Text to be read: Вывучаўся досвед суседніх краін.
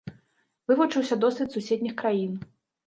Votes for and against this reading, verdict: 0, 2, rejected